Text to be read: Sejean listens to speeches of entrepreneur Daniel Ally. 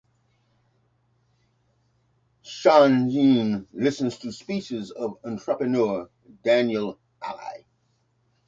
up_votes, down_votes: 2, 2